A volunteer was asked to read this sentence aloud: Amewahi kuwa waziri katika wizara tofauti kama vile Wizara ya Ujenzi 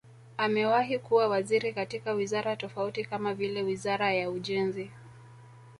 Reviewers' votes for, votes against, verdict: 3, 0, accepted